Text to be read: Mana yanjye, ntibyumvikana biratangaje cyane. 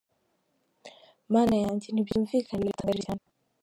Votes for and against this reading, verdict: 2, 3, rejected